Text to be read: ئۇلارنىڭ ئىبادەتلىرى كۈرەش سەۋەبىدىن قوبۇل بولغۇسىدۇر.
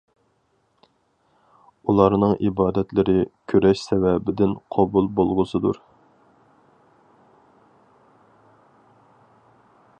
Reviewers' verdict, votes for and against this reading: accepted, 4, 0